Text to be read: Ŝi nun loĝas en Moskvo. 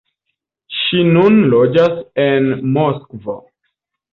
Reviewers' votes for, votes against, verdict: 1, 2, rejected